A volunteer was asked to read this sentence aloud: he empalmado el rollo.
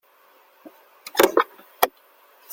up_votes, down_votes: 0, 2